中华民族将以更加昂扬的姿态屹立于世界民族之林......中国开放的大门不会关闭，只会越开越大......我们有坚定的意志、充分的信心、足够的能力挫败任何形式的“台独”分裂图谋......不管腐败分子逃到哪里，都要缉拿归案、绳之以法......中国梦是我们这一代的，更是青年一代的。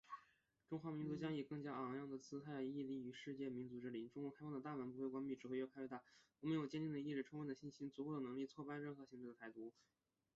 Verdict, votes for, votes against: rejected, 2, 3